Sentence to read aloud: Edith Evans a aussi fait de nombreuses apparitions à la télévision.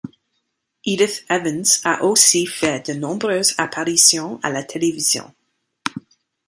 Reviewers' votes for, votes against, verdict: 2, 0, accepted